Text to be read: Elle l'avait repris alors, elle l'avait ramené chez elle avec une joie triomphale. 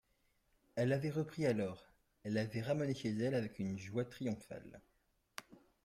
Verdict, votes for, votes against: rejected, 2, 3